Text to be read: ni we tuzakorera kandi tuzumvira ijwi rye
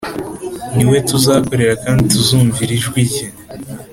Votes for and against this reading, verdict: 2, 0, accepted